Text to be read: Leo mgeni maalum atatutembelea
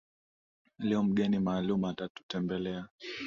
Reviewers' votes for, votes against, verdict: 2, 0, accepted